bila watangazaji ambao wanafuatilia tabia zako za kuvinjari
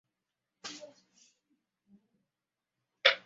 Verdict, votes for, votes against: rejected, 0, 2